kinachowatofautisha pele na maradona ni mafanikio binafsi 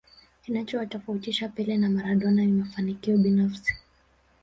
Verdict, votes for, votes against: accepted, 2, 0